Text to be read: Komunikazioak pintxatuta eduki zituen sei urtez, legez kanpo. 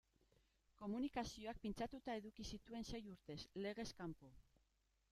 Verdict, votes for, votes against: rejected, 0, 2